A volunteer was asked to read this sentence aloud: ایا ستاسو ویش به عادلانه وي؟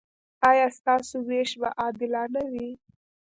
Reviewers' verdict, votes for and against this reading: accepted, 2, 0